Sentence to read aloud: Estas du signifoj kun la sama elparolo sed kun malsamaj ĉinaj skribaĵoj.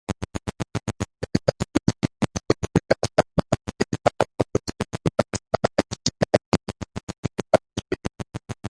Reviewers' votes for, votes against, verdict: 1, 2, rejected